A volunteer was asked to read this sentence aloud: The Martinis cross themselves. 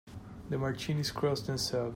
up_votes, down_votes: 1, 2